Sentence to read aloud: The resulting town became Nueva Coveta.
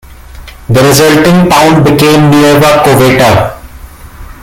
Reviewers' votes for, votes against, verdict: 2, 1, accepted